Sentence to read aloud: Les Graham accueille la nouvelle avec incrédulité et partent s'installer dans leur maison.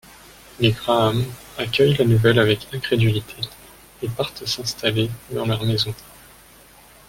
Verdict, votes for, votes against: accepted, 2, 1